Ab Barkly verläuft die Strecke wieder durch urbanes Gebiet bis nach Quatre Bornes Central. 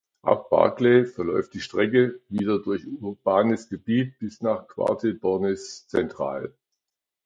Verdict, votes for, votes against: accepted, 2, 1